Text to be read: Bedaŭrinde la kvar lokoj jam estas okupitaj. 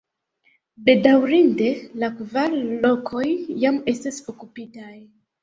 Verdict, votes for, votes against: accepted, 2, 0